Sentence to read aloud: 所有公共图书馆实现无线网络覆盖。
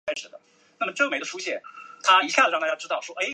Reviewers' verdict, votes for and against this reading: rejected, 0, 3